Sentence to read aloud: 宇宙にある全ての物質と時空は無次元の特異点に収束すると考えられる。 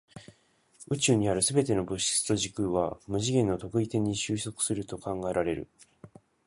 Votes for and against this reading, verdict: 2, 0, accepted